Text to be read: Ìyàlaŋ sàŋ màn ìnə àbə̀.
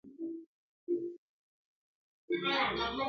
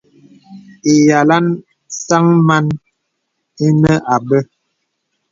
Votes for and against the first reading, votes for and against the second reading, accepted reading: 0, 2, 2, 0, second